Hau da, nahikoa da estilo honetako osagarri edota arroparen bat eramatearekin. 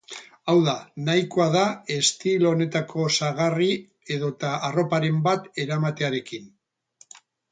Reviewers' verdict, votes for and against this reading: rejected, 2, 2